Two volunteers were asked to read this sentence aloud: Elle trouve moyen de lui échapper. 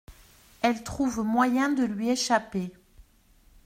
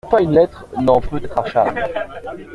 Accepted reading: first